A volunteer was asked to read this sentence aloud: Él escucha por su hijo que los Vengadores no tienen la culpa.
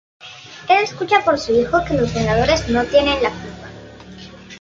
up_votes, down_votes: 1, 2